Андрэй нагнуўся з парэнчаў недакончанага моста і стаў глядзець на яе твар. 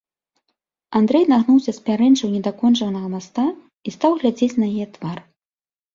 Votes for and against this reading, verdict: 1, 2, rejected